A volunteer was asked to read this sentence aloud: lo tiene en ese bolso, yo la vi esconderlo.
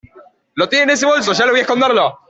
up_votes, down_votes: 2, 0